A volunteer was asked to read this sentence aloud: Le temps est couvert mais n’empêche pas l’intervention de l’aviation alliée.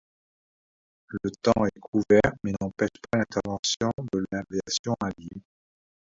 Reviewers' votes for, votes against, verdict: 2, 0, accepted